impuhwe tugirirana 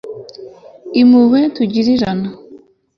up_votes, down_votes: 2, 0